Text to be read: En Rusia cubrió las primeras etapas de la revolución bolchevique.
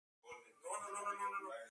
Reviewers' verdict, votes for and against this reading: rejected, 0, 4